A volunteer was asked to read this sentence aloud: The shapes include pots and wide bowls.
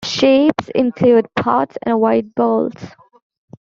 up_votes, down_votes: 1, 2